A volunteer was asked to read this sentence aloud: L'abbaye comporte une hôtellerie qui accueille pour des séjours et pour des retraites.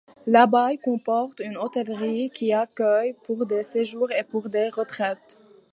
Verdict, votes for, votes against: rejected, 0, 2